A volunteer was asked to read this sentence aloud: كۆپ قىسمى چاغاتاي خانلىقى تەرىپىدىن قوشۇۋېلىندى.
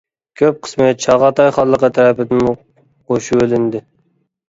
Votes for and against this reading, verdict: 1, 2, rejected